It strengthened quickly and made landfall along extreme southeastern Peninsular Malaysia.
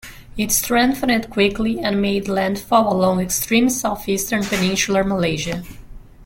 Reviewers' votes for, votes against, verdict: 1, 2, rejected